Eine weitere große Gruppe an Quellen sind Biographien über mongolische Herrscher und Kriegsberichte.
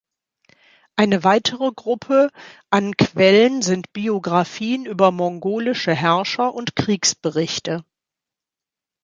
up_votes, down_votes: 0, 2